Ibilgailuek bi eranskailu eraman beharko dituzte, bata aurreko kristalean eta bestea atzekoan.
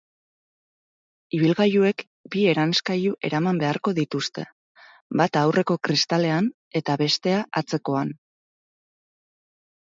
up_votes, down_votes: 6, 0